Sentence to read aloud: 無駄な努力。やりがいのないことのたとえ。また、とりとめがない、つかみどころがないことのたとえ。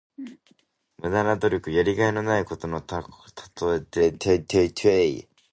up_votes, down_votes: 0, 2